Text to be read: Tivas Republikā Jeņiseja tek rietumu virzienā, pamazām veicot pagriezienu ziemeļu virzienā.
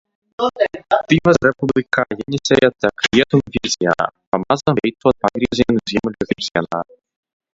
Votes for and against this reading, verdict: 0, 2, rejected